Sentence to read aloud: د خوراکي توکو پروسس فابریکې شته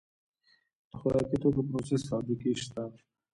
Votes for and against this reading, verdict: 2, 0, accepted